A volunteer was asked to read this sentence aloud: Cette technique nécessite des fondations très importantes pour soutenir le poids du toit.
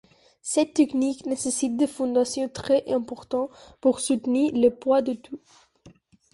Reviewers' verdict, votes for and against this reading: rejected, 0, 2